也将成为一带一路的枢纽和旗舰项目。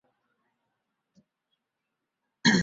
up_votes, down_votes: 0, 3